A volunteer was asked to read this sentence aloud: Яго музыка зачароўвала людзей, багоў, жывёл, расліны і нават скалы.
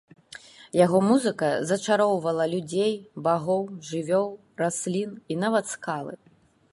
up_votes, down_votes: 0, 2